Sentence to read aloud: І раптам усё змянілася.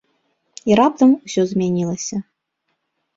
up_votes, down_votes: 2, 0